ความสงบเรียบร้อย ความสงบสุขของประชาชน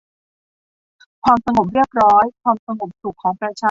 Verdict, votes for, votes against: rejected, 1, 2